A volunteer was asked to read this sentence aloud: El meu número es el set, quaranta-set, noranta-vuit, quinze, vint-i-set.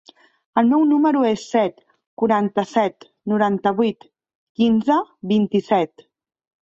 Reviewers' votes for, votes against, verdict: 1, 2, rejected